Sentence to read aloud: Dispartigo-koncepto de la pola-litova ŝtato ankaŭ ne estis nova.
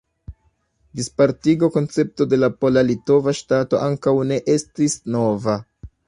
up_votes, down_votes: 2, 1